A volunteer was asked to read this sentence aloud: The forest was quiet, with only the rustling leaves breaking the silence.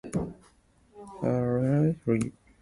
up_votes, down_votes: 1, 2